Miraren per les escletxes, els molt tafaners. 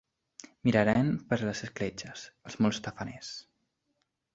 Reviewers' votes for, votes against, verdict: 2, 1, accepted